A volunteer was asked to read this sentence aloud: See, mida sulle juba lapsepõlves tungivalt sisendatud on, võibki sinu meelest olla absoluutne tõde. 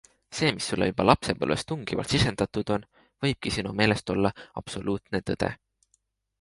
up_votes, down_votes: 0, 2